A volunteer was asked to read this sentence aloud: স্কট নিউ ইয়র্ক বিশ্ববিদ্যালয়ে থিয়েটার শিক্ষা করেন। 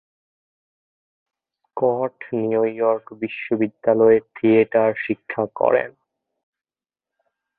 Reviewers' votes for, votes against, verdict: 1, 2, rejected